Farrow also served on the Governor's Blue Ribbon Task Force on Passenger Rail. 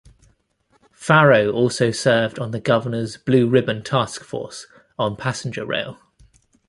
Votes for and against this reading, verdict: 2, 0, accepted